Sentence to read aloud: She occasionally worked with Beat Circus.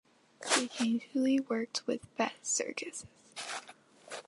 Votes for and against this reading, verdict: 0, 2, rejected